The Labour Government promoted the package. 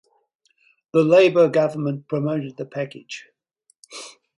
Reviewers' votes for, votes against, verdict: 4, 0, accepted